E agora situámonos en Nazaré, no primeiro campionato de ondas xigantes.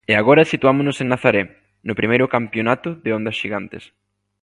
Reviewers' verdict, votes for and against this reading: accepted, 2, 0